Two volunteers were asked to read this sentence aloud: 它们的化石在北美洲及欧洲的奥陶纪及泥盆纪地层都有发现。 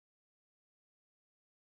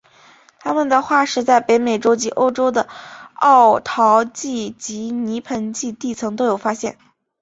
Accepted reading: second